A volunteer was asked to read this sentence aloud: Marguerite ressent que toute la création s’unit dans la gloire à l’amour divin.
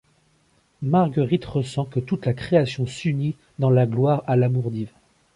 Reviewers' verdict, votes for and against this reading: rejected, 1, 2